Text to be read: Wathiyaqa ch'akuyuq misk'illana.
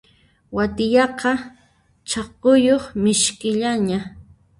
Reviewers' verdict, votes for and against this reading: rejected, 0, 2